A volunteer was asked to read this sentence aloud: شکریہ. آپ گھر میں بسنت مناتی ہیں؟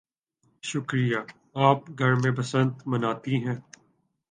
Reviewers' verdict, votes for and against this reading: accepted, 2, 0